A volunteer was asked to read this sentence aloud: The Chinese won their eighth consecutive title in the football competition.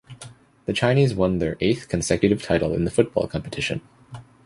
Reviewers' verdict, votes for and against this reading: accepted, 2, 0